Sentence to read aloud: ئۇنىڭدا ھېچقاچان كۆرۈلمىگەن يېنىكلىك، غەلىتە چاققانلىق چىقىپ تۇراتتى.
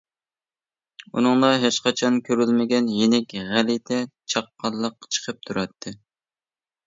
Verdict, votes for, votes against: rejected, 0, 2